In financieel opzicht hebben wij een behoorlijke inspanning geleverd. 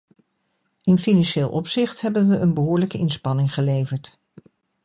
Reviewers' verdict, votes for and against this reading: rejected, 1, 2